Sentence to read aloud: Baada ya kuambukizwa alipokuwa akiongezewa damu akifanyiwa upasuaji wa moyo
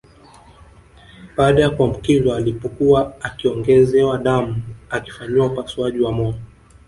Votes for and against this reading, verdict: 2, 0, accepted